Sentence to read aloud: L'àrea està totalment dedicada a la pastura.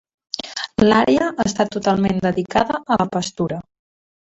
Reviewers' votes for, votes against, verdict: 1, 2, rejected